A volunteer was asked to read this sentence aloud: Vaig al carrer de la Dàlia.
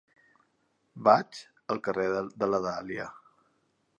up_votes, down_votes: 0, 2